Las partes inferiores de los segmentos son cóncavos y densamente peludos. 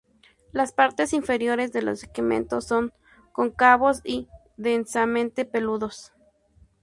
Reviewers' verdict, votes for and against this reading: rejected, 0, 2